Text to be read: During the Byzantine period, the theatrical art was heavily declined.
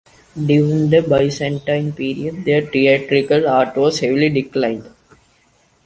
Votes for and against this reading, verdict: 2, 0, accepted